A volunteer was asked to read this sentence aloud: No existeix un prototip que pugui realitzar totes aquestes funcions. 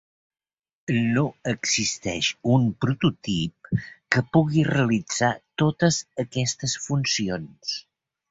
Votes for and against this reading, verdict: 3, 0, accepted